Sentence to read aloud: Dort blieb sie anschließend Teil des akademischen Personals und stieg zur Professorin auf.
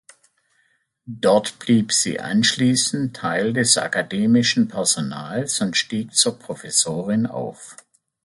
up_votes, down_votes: 2, 0